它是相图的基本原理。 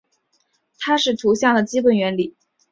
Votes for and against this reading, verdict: 0, 2, rejected